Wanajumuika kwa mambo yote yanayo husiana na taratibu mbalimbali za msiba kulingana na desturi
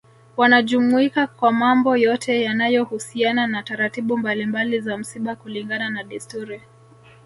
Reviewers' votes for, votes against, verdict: 0, 2, rejected